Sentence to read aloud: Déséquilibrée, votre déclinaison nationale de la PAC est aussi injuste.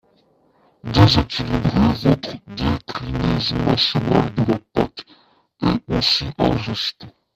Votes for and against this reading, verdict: 1, 2, rejected